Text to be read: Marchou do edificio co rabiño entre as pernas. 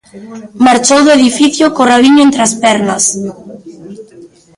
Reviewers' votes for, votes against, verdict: 0, 2, rejected